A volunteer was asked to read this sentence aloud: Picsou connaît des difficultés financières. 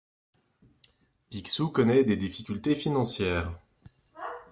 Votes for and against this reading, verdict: 2, 1, accepted